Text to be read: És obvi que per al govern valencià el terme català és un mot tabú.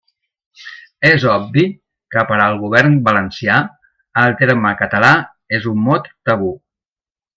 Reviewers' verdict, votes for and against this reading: accepted, 2, 0